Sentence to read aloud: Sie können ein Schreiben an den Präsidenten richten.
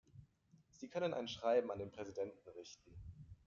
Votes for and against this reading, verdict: 1, 2, rejected